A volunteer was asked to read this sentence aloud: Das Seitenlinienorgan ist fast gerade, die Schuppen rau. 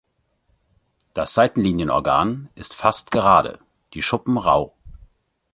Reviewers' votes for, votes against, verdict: 2, 0, accepted